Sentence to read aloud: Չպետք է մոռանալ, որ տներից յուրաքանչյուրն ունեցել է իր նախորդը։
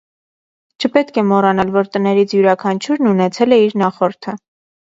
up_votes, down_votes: 2, 0